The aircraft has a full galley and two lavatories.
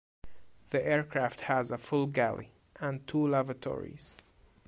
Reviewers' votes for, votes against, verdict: 2, 0, accepted